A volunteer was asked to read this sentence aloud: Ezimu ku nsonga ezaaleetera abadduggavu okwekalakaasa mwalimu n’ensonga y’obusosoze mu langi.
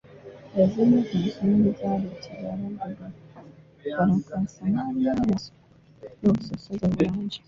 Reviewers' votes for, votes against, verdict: 0, 3, rejected